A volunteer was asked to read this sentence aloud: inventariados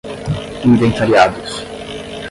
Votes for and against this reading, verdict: 5, 5, rejected